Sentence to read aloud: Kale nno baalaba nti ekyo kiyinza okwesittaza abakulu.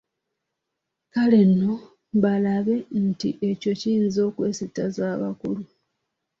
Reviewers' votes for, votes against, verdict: 1, 2, rejected